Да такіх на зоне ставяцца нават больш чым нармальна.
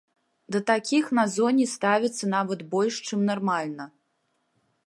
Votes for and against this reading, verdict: 2, 0, accepted